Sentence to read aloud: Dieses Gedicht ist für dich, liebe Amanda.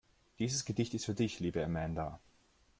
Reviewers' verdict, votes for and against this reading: accepted, 2, 0